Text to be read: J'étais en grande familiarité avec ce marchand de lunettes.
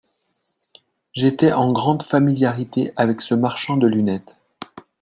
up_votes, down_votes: 2, 0